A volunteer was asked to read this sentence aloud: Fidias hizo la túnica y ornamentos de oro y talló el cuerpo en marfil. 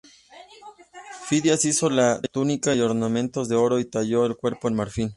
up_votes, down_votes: 1, 2